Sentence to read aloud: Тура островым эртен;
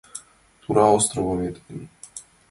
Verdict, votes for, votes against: accepted, 2, 1